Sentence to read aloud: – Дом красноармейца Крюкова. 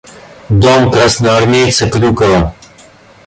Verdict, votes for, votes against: accepted, 2, 0